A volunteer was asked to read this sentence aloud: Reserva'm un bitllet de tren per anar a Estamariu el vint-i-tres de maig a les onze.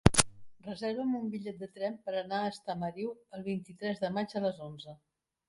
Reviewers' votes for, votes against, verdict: 3, 0, accepted